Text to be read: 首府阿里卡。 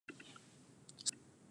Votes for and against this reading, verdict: 0, 2, rejected